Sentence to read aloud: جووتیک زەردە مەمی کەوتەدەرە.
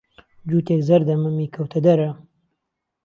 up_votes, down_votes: 2, 0